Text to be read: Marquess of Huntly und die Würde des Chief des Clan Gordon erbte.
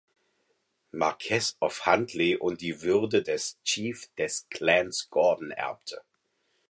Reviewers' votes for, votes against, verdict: 0, 4, rejected